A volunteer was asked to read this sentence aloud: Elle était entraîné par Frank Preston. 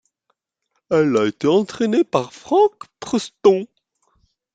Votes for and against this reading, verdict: 1, 2, rejected